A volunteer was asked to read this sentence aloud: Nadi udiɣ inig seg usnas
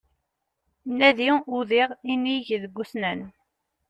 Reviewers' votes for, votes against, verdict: 1, 2, rejected